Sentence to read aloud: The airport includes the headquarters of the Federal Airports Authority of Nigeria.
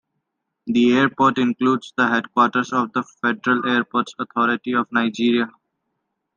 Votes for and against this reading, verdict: 2, 0, accepted